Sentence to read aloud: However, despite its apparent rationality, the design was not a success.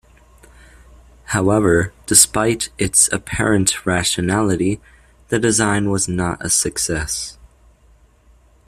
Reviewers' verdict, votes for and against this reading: accepted, 2, 0